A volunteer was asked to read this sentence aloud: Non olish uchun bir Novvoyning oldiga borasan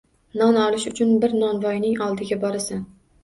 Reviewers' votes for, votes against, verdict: 2, 0, accepted